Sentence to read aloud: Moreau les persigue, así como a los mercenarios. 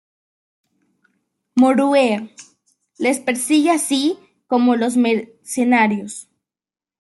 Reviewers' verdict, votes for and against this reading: rejected, 0, 2